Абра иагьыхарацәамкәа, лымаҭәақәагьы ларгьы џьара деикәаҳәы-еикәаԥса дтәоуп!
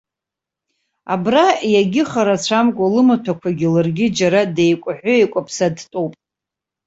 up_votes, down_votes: 2, 0